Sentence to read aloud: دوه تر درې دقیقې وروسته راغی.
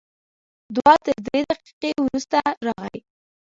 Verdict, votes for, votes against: rejected, 0, 2